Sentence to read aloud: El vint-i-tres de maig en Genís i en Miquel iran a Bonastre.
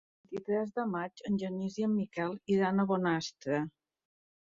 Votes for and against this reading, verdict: 1, 2, rejected